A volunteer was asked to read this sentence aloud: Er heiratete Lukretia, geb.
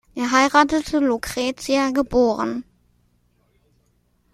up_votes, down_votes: 1, 2